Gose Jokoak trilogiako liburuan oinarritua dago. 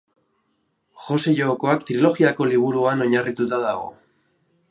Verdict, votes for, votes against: rejected, 1, 2